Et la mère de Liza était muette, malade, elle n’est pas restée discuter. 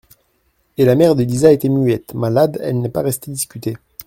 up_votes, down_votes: 0, 2